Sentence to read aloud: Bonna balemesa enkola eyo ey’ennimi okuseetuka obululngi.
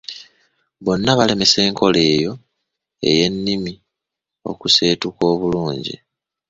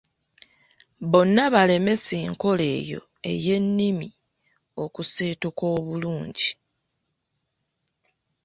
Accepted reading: first